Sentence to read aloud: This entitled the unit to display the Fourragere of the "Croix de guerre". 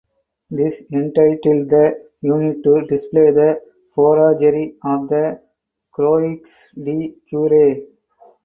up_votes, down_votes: 2, 4